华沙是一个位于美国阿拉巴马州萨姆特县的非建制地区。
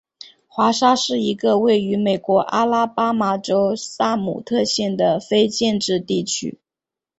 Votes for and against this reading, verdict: 1, 2, rejected